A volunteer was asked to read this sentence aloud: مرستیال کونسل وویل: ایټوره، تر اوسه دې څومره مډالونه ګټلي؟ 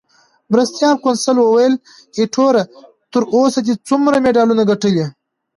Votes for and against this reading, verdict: 2, 0, accepted